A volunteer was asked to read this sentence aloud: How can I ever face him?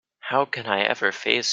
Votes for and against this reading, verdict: 0, 2, rejected